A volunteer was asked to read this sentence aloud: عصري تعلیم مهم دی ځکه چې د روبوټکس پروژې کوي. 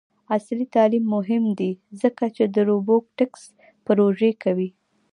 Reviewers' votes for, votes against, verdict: 1, 2, rejected